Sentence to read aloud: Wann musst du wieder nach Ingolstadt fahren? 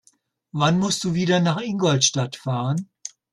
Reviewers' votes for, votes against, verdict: 2, 0, accepted